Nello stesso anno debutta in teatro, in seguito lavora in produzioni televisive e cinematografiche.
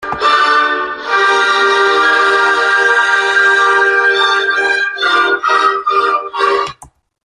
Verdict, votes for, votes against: rejected, 0, 2